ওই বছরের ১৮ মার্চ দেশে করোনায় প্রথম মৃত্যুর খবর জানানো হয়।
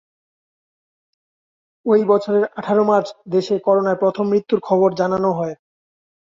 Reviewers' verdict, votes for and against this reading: rejected, 0, 2